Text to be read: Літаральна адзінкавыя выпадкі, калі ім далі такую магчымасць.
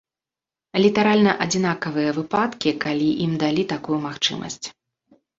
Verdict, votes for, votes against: rejected, 1, 2